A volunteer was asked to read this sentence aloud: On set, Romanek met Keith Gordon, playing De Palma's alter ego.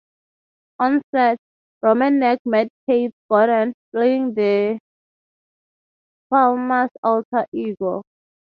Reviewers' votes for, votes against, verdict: 0, 3, rejected